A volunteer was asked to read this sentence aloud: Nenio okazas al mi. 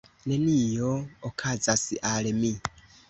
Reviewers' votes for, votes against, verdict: 1, 2, rejected